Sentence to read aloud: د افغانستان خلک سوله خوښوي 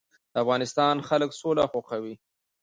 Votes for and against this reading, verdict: 1, 2, rejected